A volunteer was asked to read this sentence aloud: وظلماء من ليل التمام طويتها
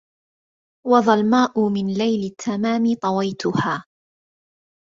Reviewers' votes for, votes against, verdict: 2, 0, accepted